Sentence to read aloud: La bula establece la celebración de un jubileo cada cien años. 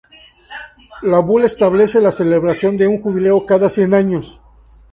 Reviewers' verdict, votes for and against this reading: accepted, 2, 0